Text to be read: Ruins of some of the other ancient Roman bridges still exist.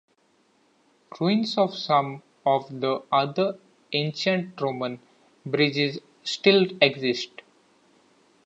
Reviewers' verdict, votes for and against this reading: accepted, 2, 1